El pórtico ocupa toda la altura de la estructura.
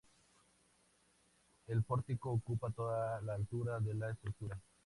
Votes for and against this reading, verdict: 2, 0, accepted